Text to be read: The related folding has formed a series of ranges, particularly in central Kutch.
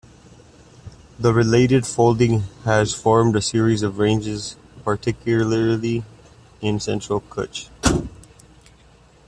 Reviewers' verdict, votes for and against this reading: accepted, 2, 1